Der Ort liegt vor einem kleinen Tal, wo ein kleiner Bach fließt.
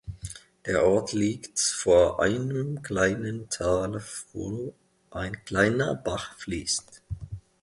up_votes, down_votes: 2, 0